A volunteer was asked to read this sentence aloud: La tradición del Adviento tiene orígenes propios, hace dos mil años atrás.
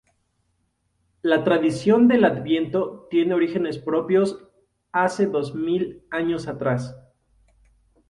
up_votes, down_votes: 0, 2